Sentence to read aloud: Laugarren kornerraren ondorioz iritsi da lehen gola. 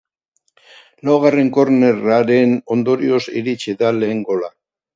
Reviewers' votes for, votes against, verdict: 3, 0, accepted